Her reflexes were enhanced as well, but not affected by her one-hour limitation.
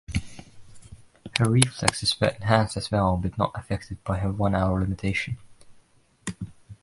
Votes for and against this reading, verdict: 0, 2, rejected